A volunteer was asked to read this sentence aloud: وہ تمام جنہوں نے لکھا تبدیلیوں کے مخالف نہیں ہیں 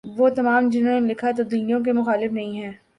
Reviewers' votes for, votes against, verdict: 6, 0, accepted